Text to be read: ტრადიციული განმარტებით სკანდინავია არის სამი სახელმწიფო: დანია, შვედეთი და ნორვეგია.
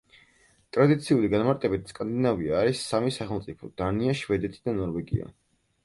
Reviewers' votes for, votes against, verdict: 4, 0, accepted